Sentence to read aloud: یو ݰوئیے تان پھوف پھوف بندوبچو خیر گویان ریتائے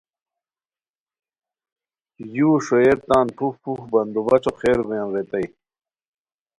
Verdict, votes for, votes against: accepted, 2, 0